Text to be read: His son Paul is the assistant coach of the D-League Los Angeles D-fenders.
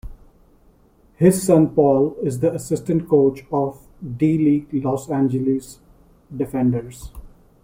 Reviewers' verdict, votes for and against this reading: rejected, 1, 2